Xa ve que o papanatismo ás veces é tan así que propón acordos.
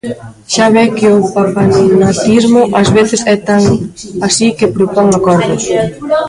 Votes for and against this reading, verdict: 0, 2, rejected